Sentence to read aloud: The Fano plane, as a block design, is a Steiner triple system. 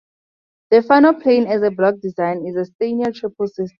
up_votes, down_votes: 2, 0